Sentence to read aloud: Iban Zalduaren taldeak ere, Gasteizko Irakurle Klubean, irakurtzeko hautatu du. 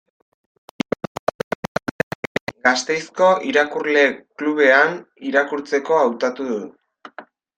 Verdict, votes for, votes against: rejected, 0, 2